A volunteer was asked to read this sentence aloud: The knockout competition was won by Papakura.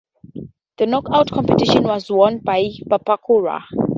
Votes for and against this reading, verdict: 2, 2, rejected